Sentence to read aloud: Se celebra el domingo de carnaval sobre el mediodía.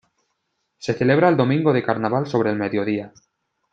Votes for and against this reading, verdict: 2, 0, accepted